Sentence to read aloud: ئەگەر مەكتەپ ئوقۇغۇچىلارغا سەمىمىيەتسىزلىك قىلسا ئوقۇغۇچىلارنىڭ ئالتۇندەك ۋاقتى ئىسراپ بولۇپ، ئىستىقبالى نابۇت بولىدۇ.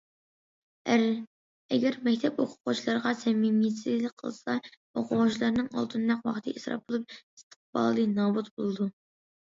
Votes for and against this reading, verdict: 2, 1, accepted